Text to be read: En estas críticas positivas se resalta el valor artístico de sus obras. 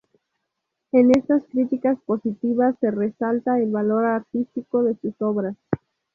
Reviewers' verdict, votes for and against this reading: accepted, 2, 0